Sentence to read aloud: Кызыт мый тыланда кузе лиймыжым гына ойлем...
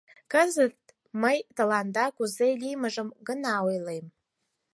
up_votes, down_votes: 4, 0